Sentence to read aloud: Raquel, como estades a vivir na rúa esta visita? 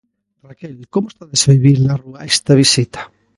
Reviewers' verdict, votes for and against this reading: accepted, 2, 1